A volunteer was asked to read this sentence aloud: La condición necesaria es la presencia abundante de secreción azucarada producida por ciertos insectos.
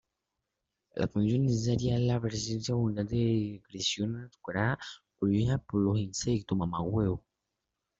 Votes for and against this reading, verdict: 0, 2, rejected